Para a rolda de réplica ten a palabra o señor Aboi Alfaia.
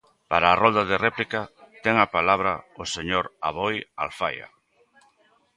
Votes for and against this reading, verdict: 2, 0, accepted